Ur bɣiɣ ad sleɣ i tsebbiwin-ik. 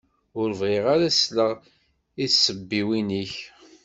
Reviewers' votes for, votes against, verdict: 1, 2, rejected